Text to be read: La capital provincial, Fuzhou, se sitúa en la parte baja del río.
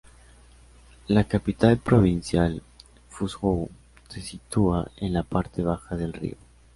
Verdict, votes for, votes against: accepted, 2, 0